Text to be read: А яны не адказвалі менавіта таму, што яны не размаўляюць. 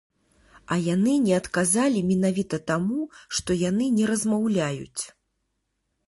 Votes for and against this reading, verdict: 1, 2, rejected